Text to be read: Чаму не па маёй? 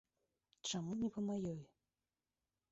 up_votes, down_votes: 1, 2